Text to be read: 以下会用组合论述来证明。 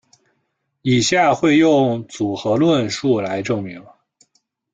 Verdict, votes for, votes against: accepted, 2, 1